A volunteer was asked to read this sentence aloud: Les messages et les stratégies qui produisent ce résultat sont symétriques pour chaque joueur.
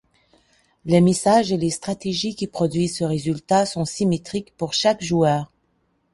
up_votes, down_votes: 2, 0